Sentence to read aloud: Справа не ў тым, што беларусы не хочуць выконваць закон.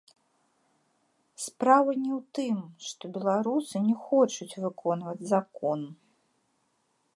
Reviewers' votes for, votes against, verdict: 2, 0, accepted